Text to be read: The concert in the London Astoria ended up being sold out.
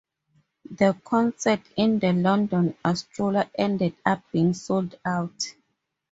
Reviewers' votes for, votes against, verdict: 4, 0, accepted